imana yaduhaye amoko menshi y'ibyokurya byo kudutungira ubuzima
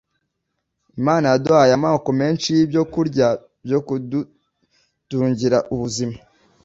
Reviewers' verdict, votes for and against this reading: accepted, 2, 0